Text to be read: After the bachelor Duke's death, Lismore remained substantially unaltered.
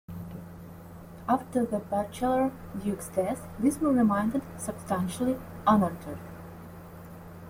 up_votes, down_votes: 2, 1